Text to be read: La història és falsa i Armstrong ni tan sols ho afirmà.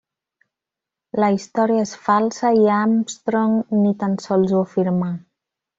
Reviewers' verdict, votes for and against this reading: rejected, 1, 2